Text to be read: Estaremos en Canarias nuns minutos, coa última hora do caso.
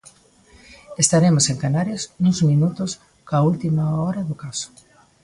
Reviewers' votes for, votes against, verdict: 2, 0, accepted